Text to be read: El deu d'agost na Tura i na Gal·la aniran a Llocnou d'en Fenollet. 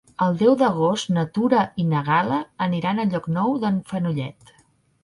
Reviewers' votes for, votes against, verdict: 4, 0, accepted